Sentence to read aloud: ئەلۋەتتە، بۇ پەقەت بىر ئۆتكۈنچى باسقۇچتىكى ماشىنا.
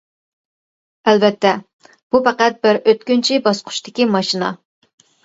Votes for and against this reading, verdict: 2, 0, accepted